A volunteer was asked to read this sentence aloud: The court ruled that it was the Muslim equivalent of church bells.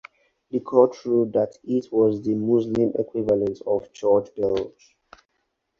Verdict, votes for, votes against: accepted, 4, 0